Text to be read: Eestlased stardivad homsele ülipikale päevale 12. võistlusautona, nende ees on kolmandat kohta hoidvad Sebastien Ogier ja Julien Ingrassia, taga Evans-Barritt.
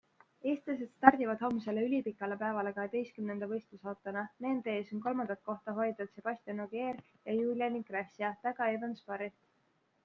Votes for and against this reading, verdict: 0, 2, rejected